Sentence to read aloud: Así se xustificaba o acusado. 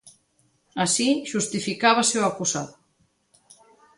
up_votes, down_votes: 0, 2